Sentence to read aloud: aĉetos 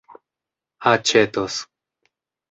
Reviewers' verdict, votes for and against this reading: rejected, 1, 2